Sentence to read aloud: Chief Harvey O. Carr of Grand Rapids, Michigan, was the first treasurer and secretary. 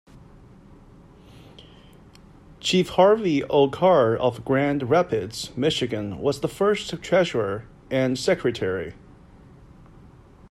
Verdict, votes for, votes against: accepted, 2, 0